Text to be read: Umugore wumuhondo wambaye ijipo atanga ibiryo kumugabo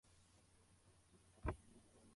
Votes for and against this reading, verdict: 0, 2, rejected